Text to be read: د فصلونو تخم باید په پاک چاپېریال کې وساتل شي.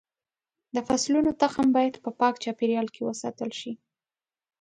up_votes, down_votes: 0, 2